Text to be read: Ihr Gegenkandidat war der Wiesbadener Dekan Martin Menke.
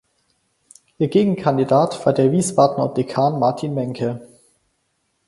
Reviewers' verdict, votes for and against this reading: accepted, 4, 0